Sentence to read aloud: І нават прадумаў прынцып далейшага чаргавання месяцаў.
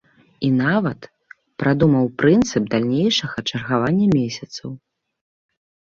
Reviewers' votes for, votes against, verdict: 0, 2, rejected